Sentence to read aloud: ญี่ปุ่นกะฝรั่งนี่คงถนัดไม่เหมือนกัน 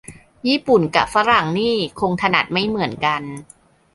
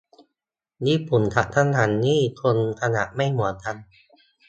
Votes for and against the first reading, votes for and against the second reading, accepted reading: 2, 0, 1, 2, first